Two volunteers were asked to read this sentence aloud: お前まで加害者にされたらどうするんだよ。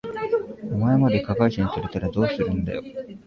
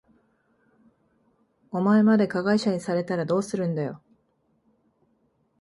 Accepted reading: second